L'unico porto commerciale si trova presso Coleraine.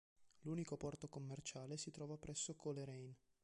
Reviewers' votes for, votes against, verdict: 1, 2, rejected